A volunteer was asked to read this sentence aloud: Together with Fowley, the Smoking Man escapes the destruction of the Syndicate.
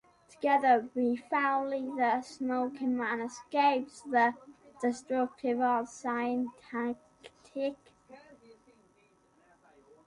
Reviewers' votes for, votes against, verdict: 0, 2, rejected